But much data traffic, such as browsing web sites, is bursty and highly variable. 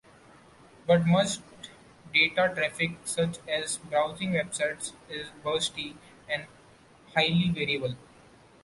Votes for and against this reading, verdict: 2, 0, accepted